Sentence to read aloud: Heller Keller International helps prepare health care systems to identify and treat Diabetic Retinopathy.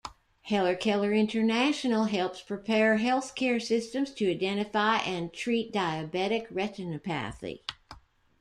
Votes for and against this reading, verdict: 0, 2, rejected